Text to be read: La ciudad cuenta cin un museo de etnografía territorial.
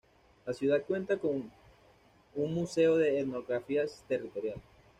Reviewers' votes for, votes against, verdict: 1, 2, rejected